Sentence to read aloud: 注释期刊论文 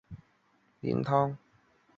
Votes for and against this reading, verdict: 2, 0, accepted